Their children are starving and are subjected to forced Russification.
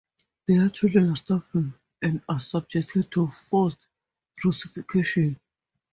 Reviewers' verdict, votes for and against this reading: rejected, 0, 4